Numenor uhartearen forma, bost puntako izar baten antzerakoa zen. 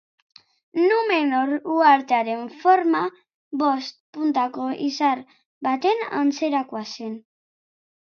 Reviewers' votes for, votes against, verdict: 2, 0, accepted